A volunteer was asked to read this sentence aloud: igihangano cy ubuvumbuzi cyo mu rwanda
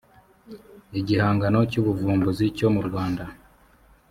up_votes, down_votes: 4, 0